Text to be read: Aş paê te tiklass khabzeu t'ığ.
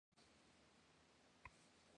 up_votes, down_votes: 1, 2